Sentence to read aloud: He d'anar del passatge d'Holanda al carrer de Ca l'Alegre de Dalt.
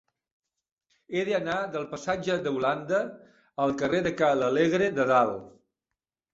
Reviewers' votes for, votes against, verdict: 0, 2, rejected